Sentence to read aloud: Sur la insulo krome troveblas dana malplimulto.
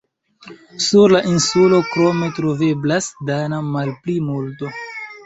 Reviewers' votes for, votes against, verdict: 2, 0, accepted